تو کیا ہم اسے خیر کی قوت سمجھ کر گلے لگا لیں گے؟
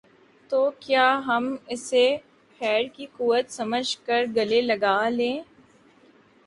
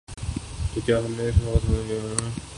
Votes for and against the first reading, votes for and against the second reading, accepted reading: 2, 0, 0, 2, first